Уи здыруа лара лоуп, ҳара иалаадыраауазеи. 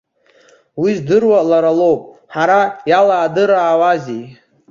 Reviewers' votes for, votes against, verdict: 1, 2, rejected